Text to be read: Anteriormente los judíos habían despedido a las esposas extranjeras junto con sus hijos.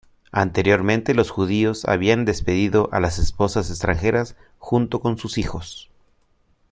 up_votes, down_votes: 2, 0